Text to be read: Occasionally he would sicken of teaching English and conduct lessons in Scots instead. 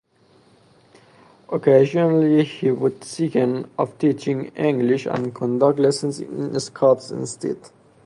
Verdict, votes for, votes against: rejected, 0, 2